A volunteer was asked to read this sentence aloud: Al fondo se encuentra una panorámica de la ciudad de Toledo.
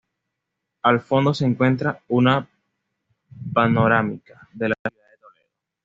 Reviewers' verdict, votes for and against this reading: rejected, 1, 2